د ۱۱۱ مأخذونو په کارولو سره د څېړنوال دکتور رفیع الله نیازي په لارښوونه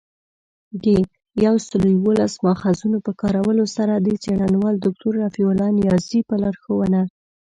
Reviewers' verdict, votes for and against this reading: rejected, 0, 2